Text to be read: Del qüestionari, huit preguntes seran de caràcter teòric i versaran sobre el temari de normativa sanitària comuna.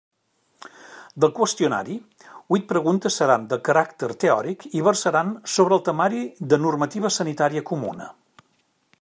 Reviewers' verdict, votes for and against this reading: accepted, 3, 0